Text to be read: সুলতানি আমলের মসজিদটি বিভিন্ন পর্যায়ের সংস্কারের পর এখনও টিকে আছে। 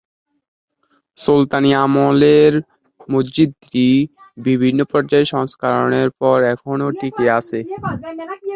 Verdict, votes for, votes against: rejected, 4, 11